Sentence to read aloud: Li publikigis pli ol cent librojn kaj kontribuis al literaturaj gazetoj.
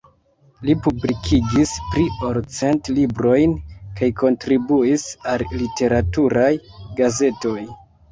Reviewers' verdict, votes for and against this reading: accepted, 2, 1